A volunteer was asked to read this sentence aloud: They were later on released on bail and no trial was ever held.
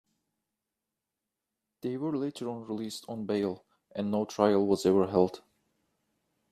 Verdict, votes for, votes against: accepted, 2, 0